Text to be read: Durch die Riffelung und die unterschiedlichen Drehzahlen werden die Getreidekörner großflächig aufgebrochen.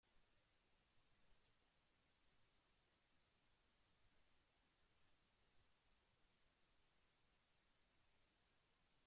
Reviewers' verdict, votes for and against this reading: rejected, 0, 2